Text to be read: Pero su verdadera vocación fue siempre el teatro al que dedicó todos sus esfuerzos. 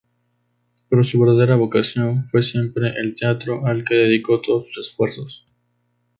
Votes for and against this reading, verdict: 2, 0, accepted